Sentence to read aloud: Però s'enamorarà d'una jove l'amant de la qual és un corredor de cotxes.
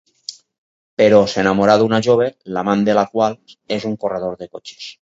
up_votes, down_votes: 2, 2